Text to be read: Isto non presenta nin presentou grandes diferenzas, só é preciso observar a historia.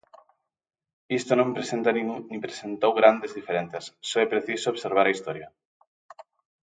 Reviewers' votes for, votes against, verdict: 0, 2, rejected